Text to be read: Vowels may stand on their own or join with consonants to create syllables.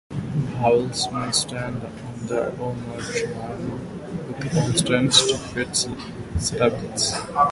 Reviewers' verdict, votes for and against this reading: rejected, 0, 2